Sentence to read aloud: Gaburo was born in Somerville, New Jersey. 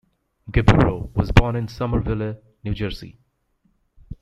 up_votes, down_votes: 0, 2